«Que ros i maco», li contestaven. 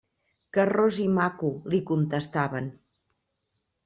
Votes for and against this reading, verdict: 2, 0, accepted